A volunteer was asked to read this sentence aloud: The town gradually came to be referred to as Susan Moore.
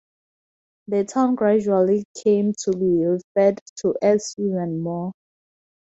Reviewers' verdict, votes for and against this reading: rejected, 2, 2